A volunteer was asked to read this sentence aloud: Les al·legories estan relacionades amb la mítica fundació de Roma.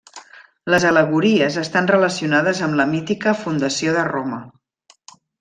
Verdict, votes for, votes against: accepted, 3, 0